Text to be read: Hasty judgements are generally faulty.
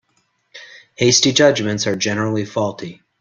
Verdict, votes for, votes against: accepted, 2, 0